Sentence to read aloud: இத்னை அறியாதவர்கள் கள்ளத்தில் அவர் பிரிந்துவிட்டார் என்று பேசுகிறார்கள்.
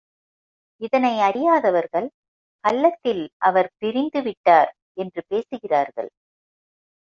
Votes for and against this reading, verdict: 2, 1, accepted